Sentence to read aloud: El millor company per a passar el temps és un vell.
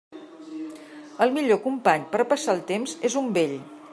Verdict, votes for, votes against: accepted, 2, 0